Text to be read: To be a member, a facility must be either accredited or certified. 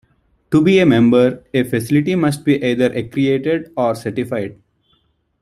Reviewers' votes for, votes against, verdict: 0, 2, rejected